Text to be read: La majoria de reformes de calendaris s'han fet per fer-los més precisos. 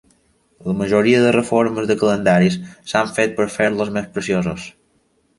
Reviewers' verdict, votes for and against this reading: rejected, 1, 2